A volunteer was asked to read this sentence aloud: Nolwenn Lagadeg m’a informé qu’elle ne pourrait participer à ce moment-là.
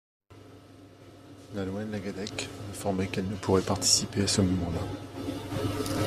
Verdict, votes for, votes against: rejected, 0, 2